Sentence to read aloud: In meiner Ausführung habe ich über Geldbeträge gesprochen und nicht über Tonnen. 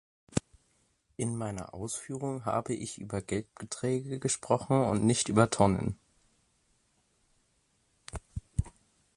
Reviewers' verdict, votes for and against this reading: accepted, 2, 0